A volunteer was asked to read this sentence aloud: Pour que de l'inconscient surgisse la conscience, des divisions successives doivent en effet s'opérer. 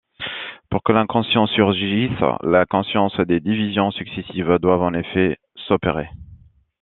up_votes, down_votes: 2, 1